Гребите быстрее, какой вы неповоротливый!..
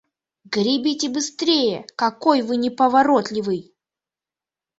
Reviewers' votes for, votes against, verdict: 1, 2, rejected